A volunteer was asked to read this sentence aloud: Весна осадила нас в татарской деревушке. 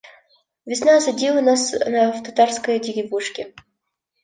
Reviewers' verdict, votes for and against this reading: rejected, 1, 2